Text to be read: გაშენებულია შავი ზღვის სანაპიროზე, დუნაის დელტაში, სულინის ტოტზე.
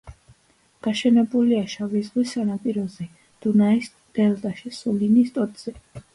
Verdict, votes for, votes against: accepted, 2, 0